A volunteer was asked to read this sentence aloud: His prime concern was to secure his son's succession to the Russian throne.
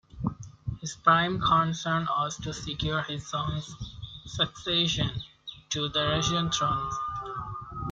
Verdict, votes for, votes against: rejected, 0, 2